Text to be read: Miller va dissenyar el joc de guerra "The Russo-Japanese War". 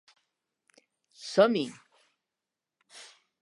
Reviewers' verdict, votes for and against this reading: rejected, 0, 2